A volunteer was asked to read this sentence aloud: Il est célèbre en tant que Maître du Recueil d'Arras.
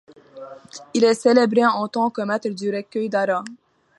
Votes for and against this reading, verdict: 0, 2, rejected